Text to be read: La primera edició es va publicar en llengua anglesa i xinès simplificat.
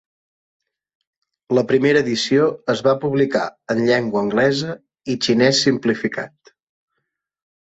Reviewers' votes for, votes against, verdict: 4, 0, accepted